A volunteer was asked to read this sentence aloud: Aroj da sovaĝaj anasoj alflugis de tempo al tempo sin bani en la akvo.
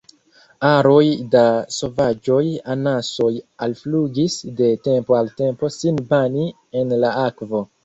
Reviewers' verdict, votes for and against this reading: rejected, 0, 2